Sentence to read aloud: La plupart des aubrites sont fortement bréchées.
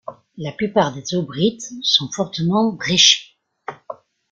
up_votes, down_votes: 2, 0